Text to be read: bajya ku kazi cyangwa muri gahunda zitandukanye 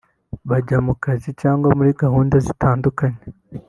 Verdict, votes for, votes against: accepted, 4, 0